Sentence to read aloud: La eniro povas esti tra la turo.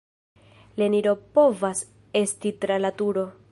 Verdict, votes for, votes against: rejected, 1, 2